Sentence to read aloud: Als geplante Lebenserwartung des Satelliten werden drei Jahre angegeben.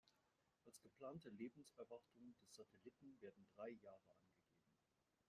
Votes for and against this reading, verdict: 2, 3, rejected